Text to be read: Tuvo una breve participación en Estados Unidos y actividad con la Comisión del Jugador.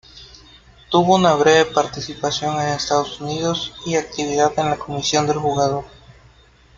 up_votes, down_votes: 1, 2